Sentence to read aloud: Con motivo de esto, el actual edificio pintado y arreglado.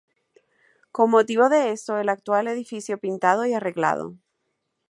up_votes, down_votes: 2, 0